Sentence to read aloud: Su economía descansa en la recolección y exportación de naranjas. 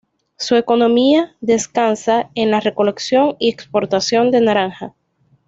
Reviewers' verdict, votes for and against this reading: accepted, 2, 0